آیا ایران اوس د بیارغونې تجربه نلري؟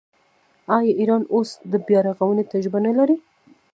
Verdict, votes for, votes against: accepted, 2, 1